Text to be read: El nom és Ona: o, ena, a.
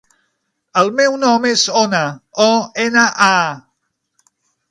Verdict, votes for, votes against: rejected, 0, 6